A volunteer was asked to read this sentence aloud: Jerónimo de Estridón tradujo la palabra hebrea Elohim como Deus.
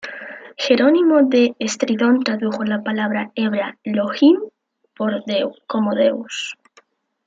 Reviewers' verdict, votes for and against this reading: rejected, 0, 2